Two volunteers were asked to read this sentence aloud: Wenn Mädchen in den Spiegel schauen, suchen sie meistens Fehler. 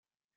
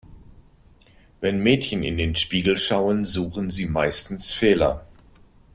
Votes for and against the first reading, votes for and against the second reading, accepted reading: 0, 2, 2, 0, second